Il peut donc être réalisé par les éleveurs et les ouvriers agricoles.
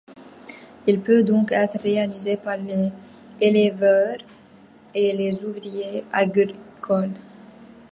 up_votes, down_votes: 0, 2